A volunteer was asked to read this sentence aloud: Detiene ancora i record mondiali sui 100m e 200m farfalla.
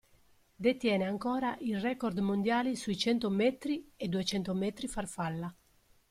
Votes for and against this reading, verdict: 0, 2, rejected